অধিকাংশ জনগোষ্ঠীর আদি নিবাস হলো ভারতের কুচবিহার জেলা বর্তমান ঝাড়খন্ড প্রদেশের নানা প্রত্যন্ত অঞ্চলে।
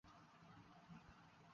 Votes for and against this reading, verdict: 0, 14, rejected